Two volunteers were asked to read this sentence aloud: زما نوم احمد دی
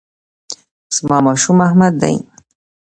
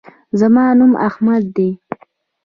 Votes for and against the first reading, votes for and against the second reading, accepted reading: 1, 2, 2, 0, second